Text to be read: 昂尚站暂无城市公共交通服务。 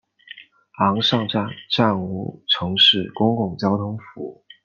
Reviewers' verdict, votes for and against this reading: accepted, 2, 0